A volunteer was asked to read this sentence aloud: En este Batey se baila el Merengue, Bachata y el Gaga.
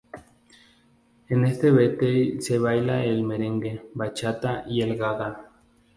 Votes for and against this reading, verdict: 2, 0, accepted